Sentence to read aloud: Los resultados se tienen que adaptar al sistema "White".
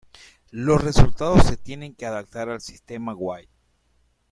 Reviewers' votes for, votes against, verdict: 2, 1, accepted